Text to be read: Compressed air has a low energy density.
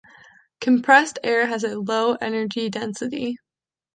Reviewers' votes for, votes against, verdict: 2, 0, accepted